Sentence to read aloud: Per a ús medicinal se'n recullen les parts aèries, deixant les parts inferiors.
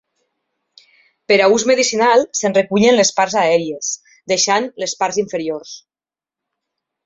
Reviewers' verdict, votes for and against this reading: accepted, 2, 0